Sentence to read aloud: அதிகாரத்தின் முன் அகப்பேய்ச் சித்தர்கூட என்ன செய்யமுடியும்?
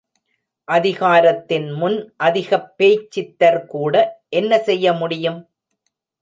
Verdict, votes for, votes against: rejected, 0, 2